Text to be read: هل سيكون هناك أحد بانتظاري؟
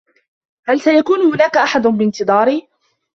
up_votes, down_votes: 2, 1